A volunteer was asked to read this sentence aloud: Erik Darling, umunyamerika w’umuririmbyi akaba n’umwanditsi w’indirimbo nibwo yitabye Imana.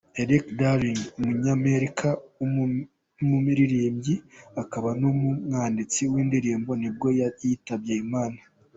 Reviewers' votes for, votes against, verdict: 1, 2, rejected